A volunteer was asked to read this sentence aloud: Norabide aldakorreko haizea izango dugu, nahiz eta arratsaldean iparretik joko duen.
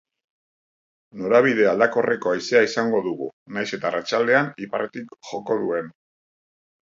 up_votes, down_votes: 4, 0